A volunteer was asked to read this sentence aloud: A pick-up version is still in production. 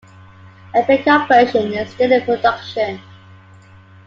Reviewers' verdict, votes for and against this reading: accepted, 2, 0